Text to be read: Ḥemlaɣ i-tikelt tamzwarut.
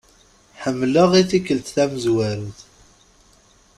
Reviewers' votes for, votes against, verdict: 2, 0, accepted